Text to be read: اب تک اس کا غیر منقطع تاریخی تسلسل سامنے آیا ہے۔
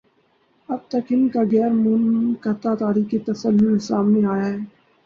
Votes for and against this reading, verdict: 4, 4, rejected